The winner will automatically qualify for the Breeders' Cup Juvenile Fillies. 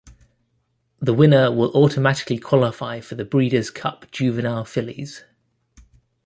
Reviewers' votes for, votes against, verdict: 2, 0, accepted